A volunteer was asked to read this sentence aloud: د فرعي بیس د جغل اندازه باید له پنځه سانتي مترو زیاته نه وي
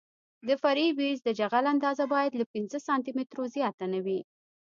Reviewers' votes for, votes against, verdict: 2, 0, accepted